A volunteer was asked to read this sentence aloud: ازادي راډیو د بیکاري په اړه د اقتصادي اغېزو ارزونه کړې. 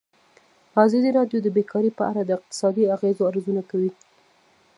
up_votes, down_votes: 2, 0